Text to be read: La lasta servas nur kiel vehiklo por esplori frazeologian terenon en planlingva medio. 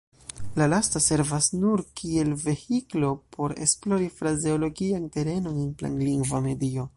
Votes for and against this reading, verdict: 3, 0, accepted